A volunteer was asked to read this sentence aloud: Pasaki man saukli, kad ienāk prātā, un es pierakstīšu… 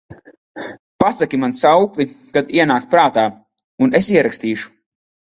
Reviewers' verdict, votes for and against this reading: rejected, 1, 2